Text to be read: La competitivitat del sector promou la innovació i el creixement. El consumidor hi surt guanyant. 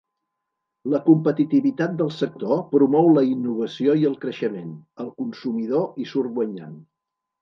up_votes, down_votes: 2, 0